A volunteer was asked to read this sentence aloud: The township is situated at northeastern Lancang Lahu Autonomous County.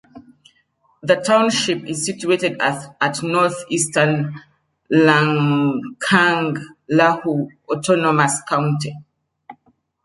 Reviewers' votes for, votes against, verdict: 0, 2, rejected